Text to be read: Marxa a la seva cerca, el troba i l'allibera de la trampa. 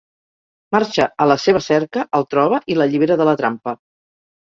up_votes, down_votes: 4, 0